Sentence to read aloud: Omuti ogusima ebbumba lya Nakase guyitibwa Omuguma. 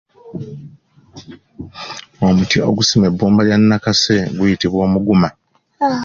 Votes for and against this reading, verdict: 2, 0, accepted